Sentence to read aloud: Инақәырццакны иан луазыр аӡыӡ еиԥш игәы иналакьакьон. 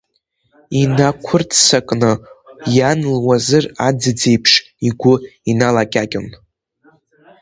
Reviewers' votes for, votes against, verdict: 2, 1, accepted